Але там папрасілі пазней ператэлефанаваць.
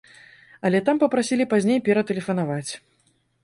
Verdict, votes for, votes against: accepted, 2, 0